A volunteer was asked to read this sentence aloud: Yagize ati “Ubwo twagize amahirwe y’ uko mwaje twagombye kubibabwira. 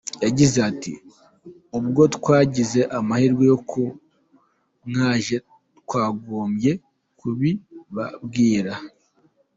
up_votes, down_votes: 2, 0